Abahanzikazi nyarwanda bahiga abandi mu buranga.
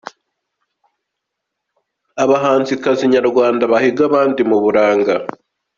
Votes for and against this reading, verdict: 2, 0, accepted